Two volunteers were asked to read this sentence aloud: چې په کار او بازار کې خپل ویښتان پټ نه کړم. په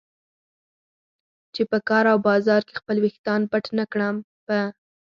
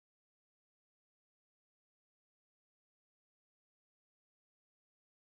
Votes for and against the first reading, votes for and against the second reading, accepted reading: 4, 0, 2, 4, first